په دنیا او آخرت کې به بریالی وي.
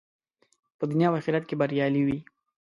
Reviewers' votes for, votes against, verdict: 1, 2, rejected